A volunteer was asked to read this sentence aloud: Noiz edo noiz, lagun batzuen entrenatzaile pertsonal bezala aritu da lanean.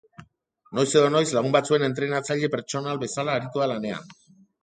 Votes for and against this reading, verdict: 3, 0, accepted